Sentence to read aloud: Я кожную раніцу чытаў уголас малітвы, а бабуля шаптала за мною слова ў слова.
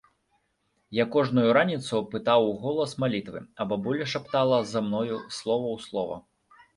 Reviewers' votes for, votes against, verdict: 1, 2, rejected